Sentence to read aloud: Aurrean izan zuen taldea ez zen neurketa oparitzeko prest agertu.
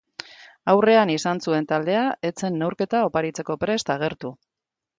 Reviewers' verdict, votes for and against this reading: accepted, 2, 1